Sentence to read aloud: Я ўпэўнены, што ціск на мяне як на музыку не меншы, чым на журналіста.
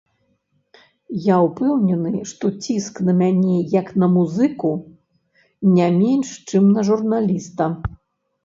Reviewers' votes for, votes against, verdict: 0, 2, rejected